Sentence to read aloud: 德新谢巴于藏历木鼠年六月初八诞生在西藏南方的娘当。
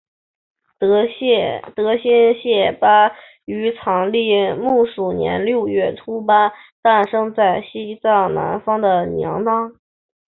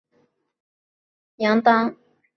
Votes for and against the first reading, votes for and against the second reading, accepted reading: 2, 0, 0, 4, first